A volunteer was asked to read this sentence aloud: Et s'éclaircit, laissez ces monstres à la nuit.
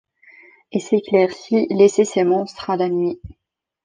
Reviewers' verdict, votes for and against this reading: accepted, 2, 0